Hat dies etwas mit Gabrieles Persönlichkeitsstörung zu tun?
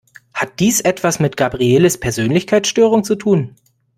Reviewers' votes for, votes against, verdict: 2, 0, accepted